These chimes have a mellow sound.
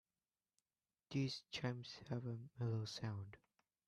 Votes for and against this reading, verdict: 1, 2, rejected